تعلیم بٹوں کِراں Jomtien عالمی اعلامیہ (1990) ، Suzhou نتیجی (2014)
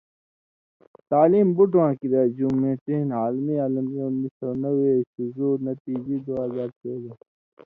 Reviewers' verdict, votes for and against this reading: rejected, 0, 2